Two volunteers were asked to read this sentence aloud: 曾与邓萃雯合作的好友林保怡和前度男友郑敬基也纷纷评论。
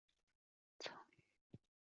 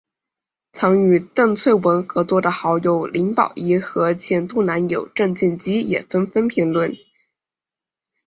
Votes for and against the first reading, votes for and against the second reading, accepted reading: 1, 2, 2, 0, second